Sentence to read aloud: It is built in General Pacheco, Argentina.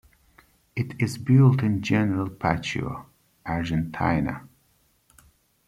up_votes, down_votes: 2, 1